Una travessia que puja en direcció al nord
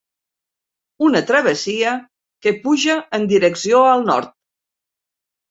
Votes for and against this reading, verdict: 3, 0, accepted